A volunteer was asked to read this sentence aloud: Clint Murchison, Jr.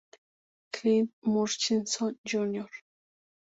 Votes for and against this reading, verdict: 2, 0, accepted